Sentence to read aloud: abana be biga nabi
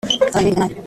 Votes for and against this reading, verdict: 0, 2, rejected